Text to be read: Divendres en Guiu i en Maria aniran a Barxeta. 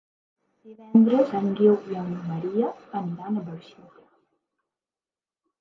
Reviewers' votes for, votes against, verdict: 1, 2, rejected